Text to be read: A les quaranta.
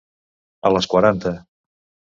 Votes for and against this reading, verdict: 2, 0, accepted